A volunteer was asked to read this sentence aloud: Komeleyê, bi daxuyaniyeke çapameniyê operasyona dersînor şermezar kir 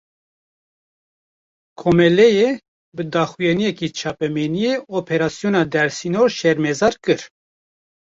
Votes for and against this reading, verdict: 1, 2, rejected